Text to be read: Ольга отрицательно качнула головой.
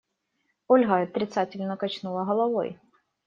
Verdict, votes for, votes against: rejected, 1, 2